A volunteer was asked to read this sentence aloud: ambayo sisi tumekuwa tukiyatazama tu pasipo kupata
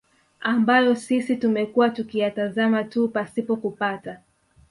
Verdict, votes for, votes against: accepted, 2, 1